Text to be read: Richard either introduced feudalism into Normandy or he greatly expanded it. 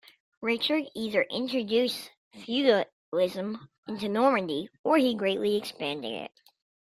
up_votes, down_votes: 1, 2